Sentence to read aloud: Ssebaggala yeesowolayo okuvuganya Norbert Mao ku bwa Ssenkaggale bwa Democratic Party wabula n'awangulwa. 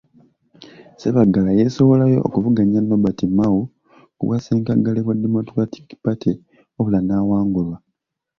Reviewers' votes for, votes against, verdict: 0, 2, rejected